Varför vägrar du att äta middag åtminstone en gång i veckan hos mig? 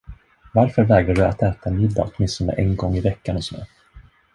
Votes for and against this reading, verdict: 1, 2, rejected